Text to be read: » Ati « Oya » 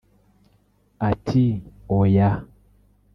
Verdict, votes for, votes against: rejected, 1, 2